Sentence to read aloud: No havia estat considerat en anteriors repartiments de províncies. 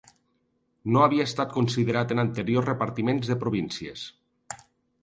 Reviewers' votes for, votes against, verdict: 2, 0, accepted